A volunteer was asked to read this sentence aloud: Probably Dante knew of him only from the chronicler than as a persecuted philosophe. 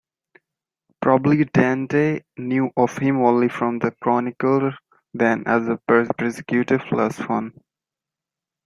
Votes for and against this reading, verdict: 1, 2, rejected